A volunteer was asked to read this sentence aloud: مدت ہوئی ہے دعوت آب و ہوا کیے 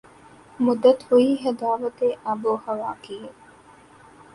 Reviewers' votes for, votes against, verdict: 4, 1, accepted